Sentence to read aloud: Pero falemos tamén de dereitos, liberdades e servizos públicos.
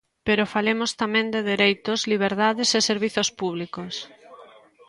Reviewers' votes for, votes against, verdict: 2, 0, accepted